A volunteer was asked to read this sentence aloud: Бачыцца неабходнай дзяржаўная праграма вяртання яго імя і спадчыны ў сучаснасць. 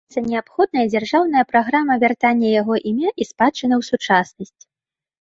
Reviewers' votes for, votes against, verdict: 1, 2, rejected